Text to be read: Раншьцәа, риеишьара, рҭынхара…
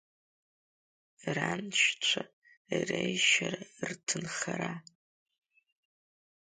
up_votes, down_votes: 1, 2